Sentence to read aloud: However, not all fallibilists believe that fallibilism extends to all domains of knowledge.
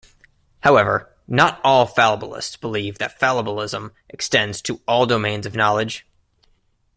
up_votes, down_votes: 2, 0